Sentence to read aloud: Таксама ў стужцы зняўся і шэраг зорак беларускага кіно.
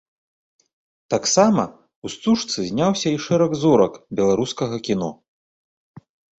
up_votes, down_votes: 3, 0